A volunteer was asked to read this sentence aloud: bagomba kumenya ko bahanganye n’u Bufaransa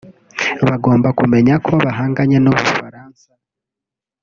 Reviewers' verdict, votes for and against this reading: accepted, 2, 0